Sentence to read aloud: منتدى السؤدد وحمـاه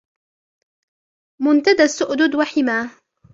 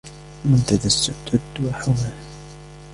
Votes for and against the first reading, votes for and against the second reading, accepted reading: 1, 2, 2, 1, second